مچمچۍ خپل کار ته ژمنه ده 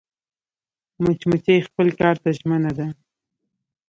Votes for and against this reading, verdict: 1, 2, rejected